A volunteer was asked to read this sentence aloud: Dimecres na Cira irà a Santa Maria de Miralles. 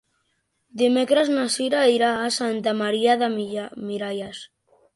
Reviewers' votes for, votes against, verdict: 0, 2, rejected